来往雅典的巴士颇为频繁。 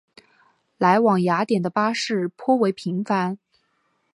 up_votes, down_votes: 2, 1